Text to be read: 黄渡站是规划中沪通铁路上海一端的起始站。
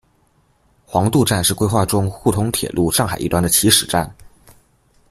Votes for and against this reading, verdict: 2, 0, accepted